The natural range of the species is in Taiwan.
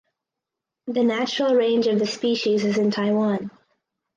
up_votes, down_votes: 4, 0